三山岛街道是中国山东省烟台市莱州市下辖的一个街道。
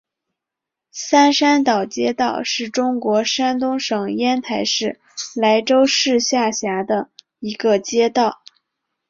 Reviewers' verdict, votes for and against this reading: accepted, 2, 0